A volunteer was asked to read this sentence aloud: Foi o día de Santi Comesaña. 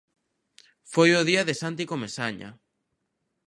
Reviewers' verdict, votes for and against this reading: accepted, 2, 0